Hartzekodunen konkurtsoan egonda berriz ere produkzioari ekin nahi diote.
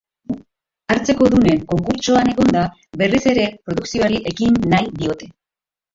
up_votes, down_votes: 0, 3